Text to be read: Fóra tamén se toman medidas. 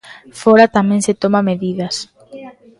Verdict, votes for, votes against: rejected, 1, 2